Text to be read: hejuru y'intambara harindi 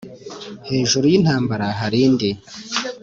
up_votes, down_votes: 3, 0